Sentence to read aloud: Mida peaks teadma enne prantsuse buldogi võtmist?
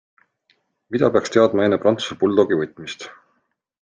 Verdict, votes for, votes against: accepted, 2, 0